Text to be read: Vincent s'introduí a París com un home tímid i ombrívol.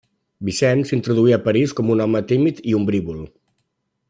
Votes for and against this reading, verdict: 1, 2, rejected